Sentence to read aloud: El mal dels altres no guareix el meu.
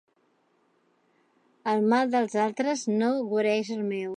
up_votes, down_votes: 2, 0